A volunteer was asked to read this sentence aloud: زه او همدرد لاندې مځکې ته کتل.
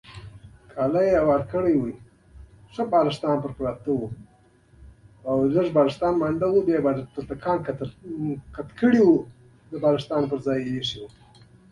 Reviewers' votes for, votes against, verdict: 0, 2, rejected